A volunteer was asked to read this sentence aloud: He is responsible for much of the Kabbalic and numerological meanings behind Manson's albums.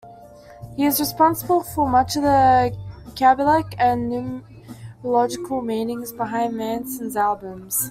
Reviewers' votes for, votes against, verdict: 1, 2, rejected